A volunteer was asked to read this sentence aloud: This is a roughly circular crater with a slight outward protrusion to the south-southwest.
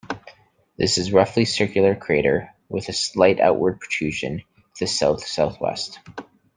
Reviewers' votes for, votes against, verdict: 1, 2, rejected